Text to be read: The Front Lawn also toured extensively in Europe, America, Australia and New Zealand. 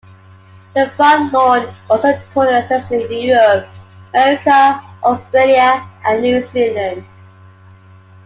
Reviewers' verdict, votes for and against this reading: rejected, 0, 2